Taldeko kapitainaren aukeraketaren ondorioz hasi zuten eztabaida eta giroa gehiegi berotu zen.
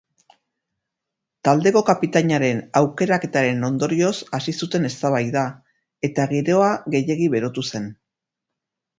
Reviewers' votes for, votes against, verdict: 0, 2, rejected